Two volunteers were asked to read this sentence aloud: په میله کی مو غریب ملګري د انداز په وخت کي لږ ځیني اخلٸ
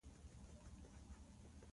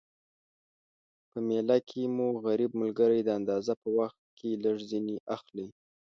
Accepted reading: second